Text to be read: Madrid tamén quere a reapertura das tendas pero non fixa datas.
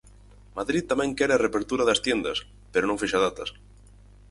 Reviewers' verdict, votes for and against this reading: rejected, 0, 4